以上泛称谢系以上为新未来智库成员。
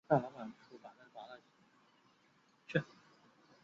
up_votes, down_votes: 2, 1